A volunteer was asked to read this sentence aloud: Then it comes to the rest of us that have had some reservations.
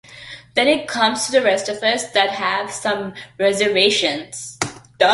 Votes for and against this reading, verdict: 2, 0, accepted